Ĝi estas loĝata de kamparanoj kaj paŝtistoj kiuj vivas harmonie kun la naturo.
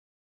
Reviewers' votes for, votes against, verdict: 1, 2, rejected